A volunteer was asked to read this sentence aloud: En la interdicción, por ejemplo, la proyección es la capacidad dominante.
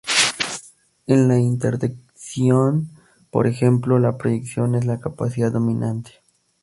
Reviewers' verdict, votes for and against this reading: rejected, 0, 2